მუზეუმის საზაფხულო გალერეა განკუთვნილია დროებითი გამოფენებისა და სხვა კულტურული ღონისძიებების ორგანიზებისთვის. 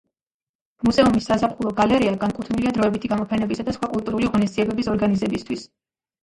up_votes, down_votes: 2, 1